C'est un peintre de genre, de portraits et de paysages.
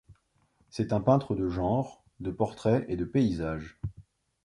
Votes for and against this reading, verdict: 2, 0, accepted